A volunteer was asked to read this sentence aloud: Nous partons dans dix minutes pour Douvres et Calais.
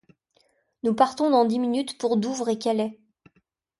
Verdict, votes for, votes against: accepted, 2, 0